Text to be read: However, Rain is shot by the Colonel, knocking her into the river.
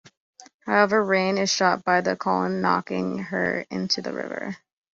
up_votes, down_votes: 1, 2